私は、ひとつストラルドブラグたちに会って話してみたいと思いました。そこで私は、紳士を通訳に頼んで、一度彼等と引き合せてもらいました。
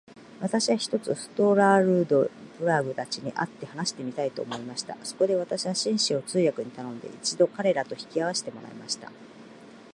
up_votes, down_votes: 1, 2